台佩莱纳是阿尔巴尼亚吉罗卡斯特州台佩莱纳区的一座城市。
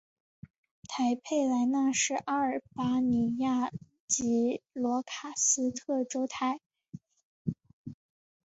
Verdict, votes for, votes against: rejected, 1, 3